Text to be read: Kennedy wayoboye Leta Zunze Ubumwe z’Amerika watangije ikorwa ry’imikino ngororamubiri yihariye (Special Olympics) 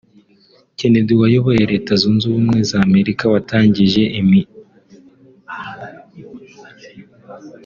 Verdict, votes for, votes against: rejected, 0, 2